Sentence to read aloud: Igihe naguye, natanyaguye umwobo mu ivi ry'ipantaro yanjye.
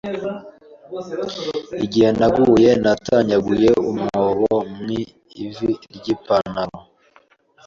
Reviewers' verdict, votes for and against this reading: rejected, 1, 2